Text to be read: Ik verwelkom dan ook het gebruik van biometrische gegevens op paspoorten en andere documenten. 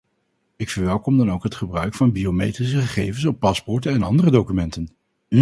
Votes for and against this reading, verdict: 0, 2, rejected